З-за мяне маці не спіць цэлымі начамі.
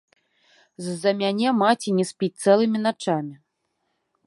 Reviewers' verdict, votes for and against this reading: accepted, 2, 1